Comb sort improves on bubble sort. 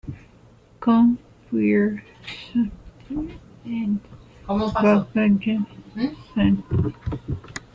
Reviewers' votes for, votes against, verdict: 0, 2, rejected